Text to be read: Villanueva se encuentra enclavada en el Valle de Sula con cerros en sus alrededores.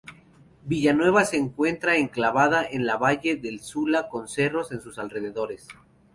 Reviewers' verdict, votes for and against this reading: accepted, 2, 0